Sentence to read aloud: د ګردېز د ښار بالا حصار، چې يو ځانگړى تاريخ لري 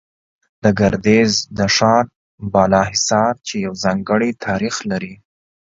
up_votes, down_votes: 2, 0